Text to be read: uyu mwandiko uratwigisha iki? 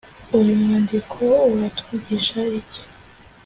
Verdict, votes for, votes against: accepted, 2, 0